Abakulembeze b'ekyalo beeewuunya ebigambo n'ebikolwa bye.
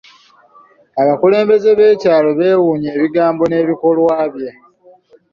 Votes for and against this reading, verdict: 2, 0, accepted